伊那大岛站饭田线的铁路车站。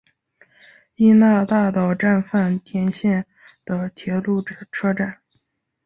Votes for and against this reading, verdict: 3, 0, accepted